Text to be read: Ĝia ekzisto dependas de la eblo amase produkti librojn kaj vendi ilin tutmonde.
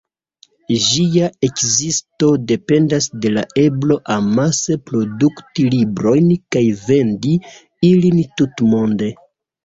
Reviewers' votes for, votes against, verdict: 2, 0, accepted